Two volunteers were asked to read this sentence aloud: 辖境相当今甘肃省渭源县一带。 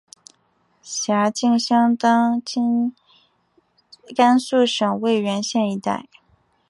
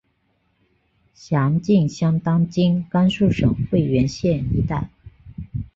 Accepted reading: first